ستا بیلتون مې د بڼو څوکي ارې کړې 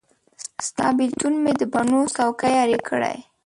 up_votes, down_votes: 0, 2